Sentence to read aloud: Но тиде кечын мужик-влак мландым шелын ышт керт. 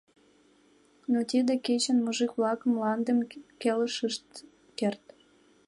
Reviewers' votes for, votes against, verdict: 0, 2, rejected